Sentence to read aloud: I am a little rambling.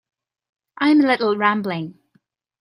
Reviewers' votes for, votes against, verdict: 1, 2, rejected